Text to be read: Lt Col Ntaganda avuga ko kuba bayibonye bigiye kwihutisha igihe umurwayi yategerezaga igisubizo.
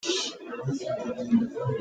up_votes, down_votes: 0, 2